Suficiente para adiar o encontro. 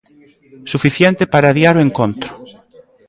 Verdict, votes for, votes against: accepted, 2, 1